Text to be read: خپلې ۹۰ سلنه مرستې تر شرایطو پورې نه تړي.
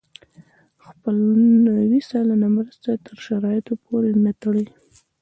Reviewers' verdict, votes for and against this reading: rejected, 0, 2